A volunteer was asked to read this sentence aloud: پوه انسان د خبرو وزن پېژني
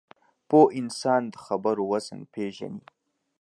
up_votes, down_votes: 4, 0